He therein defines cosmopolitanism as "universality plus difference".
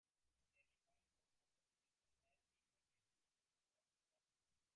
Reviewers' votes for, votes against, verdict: 0, 2, rejected